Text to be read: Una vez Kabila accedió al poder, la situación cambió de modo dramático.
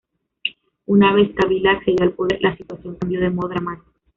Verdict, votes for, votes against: accepted, 2, 1